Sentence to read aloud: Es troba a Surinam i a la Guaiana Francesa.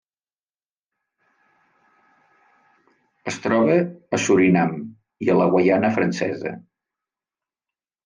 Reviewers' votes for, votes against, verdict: 2, 1, accepted